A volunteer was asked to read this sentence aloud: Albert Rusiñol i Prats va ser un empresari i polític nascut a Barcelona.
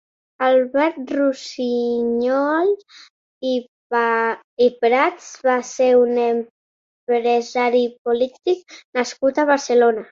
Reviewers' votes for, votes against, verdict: 1, 2, rejected